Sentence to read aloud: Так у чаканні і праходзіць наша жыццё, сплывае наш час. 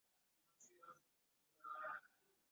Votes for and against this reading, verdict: 0, 2, rejected